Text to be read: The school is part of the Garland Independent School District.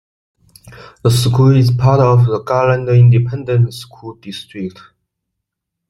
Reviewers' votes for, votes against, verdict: 2, 0, accepted